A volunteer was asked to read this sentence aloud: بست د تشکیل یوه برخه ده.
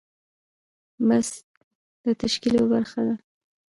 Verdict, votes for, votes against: rejected, 1, 2